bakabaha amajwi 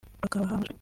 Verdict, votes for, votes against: rejected, 0, 2